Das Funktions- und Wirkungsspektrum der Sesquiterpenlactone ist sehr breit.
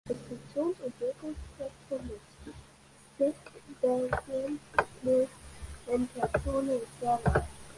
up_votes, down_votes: 0, 2